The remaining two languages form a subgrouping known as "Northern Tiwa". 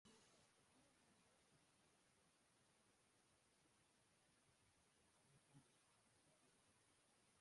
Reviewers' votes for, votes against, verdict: 0, 2, rejected